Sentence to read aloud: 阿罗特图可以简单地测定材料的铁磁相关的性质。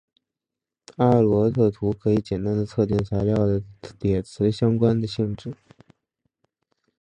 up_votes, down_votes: 0, 2